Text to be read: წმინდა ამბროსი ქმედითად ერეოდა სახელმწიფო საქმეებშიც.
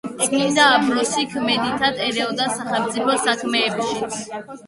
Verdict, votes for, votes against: rejected, 0, 2